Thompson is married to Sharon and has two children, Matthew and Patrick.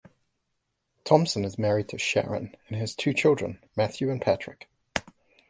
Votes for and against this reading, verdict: 2, 0, accepted